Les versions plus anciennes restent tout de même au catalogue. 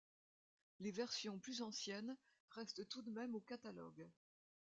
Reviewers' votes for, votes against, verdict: 2, 0, accepted